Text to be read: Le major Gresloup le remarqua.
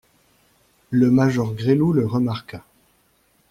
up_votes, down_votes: 2, 0